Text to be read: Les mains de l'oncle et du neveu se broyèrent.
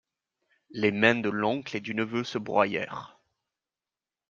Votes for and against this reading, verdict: 2, 0, accepted